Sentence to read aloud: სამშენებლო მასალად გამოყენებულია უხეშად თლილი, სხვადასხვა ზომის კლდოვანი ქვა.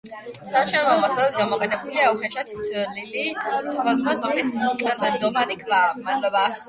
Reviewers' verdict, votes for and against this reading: rejected, 4, 8